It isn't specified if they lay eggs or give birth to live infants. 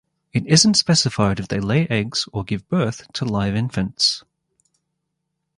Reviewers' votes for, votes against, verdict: 0, 2, rejected